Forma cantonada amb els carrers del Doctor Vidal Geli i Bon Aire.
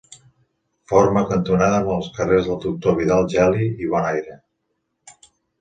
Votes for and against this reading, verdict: 2, 0, accepted